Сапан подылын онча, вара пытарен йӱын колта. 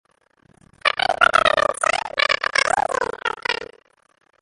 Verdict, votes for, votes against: rejected, 0, 2